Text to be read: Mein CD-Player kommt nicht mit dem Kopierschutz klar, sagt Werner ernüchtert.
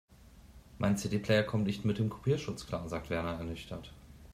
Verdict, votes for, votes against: accepted, 2, 0